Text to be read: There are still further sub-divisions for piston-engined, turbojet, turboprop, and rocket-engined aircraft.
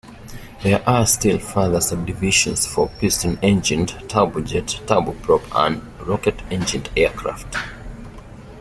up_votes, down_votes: 1, 2